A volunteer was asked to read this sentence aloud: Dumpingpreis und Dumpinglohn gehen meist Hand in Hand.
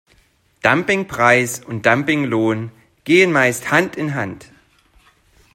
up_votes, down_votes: 2, 0